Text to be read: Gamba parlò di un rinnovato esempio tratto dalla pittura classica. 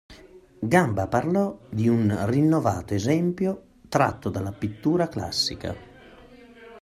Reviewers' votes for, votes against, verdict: 2, 0, accepted